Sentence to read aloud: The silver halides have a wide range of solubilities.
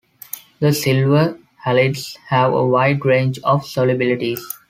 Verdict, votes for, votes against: accepted, 2, 0